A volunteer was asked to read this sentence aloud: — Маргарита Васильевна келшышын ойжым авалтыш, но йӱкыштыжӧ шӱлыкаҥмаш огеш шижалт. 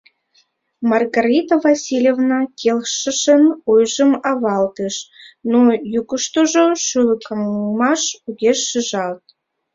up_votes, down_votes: 0, 2